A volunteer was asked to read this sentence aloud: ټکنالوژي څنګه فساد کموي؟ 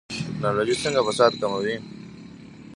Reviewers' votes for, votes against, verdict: 0, 2, rejected